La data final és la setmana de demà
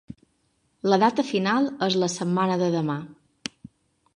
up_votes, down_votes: 4, 0